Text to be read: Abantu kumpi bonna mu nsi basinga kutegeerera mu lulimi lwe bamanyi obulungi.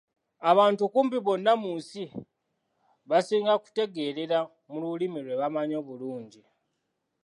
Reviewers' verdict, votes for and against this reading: accepted, 2, 0